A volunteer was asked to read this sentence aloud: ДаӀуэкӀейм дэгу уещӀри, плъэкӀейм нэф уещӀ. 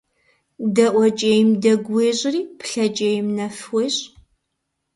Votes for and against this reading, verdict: 2, 0, accepted